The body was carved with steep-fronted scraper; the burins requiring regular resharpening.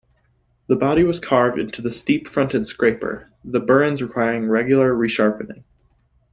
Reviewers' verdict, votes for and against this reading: rejected, 1, 2